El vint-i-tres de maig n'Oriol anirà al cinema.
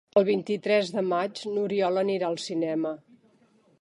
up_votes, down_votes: 5, 0